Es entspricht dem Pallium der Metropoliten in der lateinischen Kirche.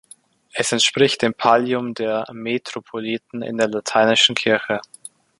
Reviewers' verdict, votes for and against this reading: accepted, 2, 0